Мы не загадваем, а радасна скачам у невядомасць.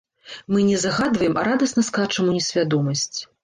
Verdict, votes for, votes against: rejected, 1, 2